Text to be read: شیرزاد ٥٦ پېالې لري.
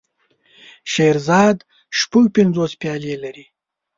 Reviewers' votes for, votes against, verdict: 0, 2, rejected